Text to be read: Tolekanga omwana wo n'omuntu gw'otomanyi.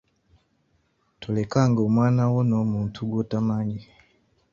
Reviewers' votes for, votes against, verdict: 3, 2, accepted